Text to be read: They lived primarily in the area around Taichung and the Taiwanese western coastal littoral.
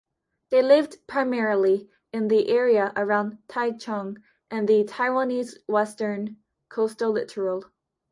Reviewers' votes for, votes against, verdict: 2, 0, accepted